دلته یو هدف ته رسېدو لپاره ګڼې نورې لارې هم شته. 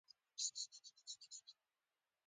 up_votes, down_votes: 0, 2